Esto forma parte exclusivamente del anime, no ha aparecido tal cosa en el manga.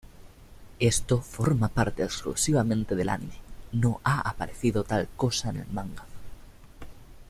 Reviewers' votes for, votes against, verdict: 2, 0, accepted